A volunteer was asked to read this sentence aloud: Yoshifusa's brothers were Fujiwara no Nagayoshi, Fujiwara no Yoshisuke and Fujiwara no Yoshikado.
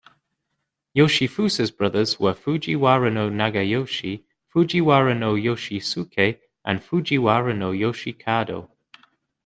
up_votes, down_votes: 2, 0